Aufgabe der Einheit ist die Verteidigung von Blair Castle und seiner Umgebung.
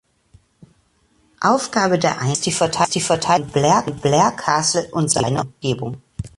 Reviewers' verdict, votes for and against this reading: rejected, 0, 2